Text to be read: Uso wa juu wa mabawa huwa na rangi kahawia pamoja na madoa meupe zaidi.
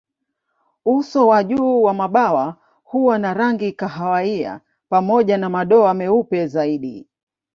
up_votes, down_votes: 2, 0